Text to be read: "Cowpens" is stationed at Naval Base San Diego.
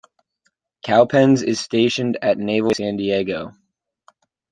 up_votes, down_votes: 1, 2